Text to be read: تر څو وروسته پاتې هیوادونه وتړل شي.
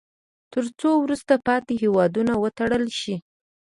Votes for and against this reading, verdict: 2, 0, accepted